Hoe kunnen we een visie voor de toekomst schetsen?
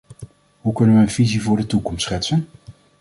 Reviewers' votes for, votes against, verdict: 2, 0, accepted